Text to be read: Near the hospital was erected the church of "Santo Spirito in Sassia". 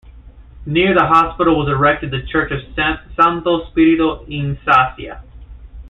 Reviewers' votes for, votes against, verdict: 0, 2, rejected